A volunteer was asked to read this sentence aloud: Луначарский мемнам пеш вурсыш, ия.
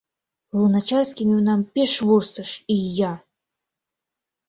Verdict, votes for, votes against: accepted, 2, 0